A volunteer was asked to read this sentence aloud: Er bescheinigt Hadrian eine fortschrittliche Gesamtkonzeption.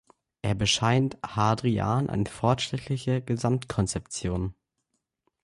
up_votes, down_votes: 0, 3